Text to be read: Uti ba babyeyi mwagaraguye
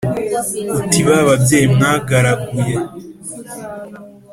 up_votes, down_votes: 2, 0